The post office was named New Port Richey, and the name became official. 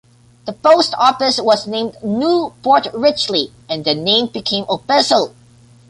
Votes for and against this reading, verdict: 0, 2, rejected